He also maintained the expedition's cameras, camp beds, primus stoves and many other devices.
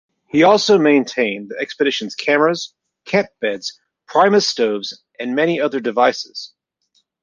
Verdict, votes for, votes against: accepted, 2, 0